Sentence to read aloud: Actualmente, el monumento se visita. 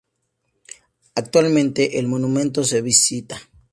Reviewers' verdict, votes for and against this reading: accepted, 2, 0